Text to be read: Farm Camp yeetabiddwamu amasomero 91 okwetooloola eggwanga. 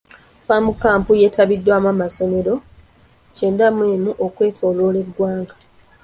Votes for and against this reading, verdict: 0, 2, rejected